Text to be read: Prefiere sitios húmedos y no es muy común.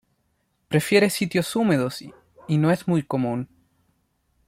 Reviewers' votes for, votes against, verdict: 2, 1, accepted